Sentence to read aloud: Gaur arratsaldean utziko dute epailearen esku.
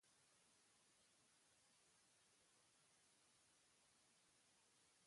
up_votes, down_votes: 0, 2